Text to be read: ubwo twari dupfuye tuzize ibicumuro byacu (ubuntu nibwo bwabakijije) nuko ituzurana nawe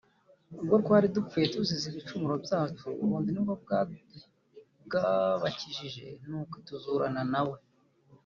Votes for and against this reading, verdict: 0, 2, rejected